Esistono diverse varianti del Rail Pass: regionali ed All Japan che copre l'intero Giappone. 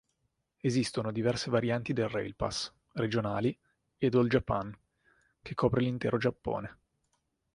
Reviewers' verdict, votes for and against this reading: accepted, 2, 0